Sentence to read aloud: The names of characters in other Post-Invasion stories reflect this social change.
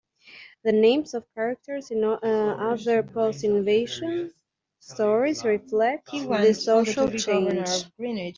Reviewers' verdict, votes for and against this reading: rejected, 0, 2